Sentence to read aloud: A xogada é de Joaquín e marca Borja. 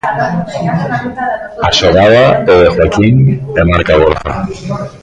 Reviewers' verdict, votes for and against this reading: rejected, 1, 2